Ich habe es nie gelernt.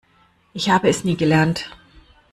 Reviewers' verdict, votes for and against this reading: accepted, 2, 0